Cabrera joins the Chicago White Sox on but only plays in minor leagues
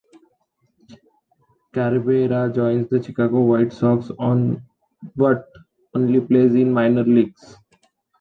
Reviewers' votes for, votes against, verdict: 1, 2, rejected